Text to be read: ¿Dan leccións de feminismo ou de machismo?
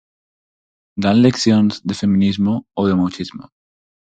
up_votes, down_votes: 4, 0